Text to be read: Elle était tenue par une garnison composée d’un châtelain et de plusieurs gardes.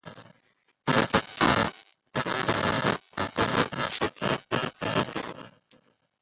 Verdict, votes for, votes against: rejected, 0, 2